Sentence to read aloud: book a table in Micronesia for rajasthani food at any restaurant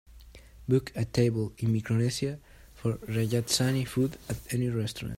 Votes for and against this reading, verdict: 2, 0, accepted